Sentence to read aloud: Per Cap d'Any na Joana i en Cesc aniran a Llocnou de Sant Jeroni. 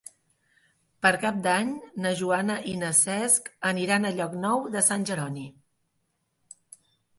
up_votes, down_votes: 1, 2